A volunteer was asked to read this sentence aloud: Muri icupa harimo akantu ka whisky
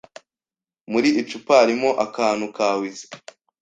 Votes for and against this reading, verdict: 2, 0, accepted